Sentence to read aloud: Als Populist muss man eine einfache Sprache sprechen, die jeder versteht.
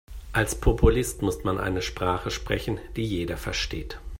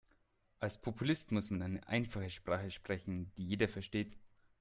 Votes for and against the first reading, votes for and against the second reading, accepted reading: 1, 2, 2, 0, second